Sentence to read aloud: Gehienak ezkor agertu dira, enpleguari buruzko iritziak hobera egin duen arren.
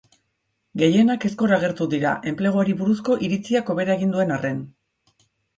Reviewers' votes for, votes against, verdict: 2, 0, accepted